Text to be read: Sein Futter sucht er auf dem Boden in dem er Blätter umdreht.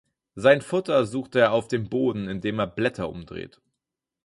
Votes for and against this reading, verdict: 4, 0, accepted